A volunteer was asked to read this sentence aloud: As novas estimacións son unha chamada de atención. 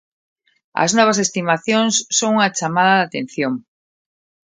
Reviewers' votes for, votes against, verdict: 2, 0, accepted